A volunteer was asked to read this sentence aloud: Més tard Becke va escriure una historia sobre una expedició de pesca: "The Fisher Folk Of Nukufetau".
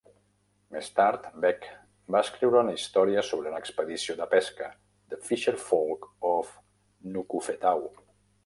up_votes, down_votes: 0, 2